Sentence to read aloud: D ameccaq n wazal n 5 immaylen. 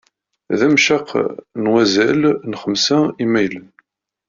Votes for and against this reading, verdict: 0, 2, rejected